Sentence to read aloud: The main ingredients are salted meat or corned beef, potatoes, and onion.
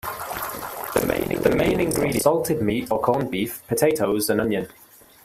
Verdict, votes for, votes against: accepted, 2, 0